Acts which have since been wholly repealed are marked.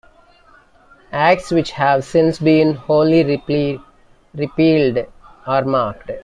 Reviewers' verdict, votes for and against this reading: rejected, 1, 2